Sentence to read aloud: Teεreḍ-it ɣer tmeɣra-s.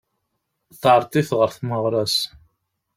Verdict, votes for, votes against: accepted, 2, 0